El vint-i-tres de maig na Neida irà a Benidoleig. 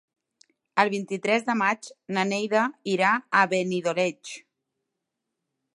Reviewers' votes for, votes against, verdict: 2, 0, accepted